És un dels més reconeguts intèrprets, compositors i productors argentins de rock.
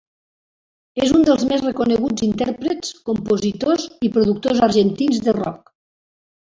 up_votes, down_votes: 2, 1